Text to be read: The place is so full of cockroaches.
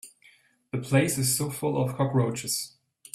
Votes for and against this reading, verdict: 3, 0, accepted